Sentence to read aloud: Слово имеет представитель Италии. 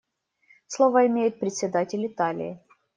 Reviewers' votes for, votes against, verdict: 0, 2, rejected